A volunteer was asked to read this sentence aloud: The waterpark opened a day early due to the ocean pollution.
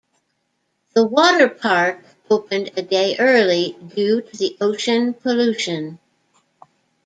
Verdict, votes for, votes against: rejected, 1, 2